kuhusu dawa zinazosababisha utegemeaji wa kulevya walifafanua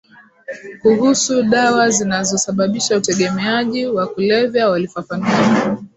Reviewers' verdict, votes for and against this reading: rejected, 1, 2